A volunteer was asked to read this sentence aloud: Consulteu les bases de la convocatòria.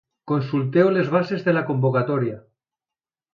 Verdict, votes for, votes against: accepted, 2, 0